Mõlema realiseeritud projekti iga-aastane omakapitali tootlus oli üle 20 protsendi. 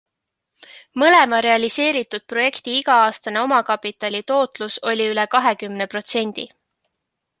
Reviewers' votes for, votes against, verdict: 0, 2, rejected